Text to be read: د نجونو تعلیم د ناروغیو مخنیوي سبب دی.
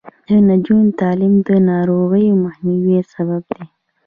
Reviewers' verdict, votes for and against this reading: rejected, 0, 2